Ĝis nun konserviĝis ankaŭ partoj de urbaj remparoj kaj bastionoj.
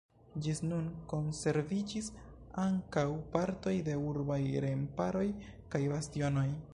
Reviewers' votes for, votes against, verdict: 1, 2, rejected